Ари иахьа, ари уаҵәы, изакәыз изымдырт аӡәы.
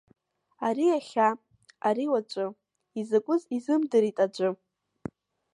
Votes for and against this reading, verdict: 0, 2, rejected